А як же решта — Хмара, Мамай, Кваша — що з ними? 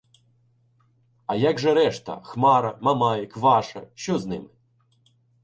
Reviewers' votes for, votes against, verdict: 2, 0, accepted